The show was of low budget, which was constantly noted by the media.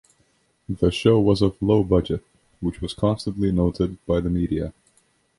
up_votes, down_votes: 2, 0